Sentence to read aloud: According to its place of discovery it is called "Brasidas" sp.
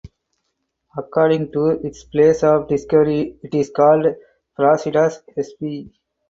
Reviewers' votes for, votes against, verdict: 2, 2, rejected